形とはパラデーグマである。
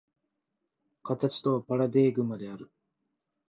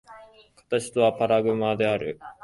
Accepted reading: first